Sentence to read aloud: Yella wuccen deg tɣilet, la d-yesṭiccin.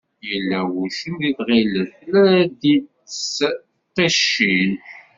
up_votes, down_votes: 1, 2